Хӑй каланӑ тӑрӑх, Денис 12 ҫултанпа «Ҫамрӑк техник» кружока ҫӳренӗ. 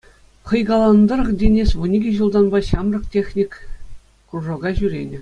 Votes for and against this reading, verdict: 0, 2, rejected